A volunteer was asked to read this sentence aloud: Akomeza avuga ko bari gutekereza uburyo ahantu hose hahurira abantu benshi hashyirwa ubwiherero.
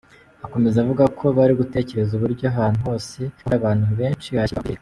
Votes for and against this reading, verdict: 0, 3, rejected